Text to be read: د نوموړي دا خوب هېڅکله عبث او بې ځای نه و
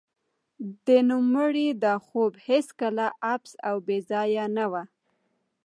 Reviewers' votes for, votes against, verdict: 1, 2, rejected